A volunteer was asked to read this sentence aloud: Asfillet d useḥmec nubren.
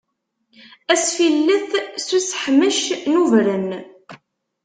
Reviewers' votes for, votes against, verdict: 1, 2, rejected